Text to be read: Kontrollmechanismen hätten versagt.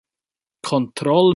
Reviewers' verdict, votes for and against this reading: rejected, 0, 2